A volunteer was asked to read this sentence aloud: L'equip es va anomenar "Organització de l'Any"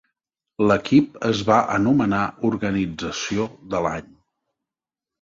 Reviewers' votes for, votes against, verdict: 2, 0, accepted